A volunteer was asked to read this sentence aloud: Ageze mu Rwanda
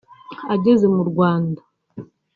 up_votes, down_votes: 2, 0